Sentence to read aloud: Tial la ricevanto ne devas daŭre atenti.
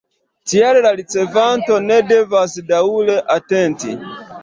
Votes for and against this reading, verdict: 2, 0, accepted